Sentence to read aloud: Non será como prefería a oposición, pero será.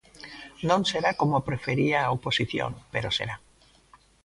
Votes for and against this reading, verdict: 2, 0, accepted